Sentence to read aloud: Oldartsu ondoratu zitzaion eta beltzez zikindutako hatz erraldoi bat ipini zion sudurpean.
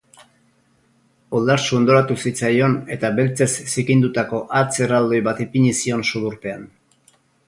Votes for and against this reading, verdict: 4, 0, accepted